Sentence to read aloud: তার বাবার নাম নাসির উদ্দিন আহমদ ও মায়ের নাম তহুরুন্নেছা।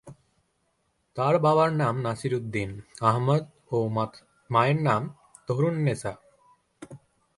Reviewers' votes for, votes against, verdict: 1, 2, rejected